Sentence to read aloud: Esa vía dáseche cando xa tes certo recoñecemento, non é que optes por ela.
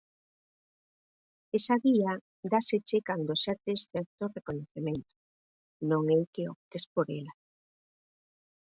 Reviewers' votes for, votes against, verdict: 2, 4, rejected